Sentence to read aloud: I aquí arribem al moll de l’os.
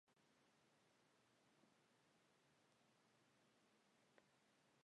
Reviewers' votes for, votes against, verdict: 0, 3, rejected